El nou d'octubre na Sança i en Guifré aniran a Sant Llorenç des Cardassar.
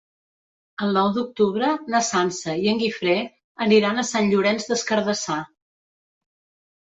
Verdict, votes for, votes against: accepted, 3, 0